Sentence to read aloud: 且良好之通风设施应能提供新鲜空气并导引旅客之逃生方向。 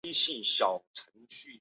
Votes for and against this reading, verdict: 0, 3, rejected